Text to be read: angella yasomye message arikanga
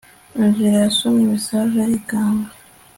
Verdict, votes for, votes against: accepted, 3, 0